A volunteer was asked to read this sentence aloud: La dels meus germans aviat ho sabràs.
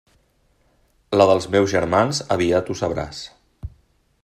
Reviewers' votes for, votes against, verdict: 3, 0, accepted